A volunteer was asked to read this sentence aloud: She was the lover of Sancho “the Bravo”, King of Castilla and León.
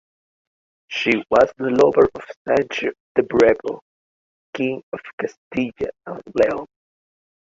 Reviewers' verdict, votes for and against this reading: accepted, 3, 2